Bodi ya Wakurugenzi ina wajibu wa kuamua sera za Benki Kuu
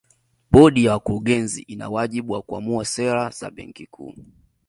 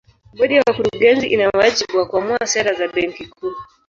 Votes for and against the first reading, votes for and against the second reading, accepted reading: 2, 0, 0, 2, first